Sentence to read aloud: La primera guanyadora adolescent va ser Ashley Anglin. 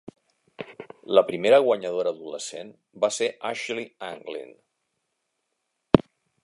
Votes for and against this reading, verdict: 4, 0, accepted